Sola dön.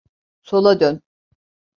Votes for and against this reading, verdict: 2, 0, accepted